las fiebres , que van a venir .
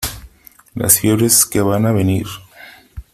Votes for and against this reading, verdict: 2, 0, accepted